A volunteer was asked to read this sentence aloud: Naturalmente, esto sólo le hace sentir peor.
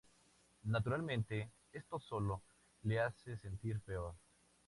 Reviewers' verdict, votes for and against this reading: accepted, 2, 0